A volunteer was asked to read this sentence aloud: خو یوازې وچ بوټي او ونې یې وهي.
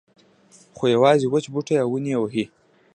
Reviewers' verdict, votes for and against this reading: accepted, 2, 0